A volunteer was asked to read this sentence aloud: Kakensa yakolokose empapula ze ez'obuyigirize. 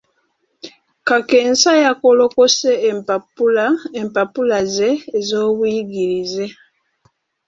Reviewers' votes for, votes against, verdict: 0, 2, rejected